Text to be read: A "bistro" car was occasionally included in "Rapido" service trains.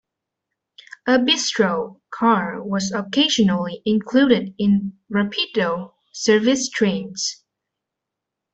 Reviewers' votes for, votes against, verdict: 2, 0, accepted